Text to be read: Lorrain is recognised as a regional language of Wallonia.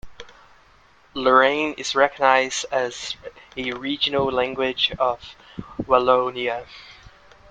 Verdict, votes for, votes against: accepted, 2, 1